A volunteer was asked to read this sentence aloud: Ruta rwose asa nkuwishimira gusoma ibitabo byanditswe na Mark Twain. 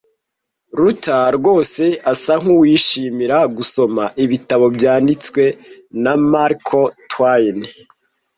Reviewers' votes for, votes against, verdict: 2, 0, accepted